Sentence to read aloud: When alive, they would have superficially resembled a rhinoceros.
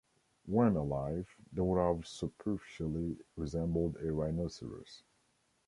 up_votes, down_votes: 1, 2